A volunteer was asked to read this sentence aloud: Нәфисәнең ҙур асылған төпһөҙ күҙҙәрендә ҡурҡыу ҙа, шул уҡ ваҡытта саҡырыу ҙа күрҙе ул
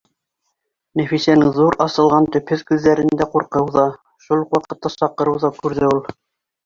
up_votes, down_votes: 2, 0